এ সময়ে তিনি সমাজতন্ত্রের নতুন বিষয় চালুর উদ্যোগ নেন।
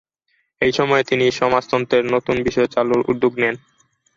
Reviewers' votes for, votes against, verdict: 2, 0, accepted